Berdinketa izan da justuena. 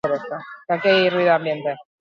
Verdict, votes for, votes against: rejected, 0, 6